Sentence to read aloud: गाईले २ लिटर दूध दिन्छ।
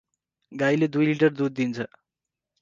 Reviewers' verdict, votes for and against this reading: rejected, 0, 2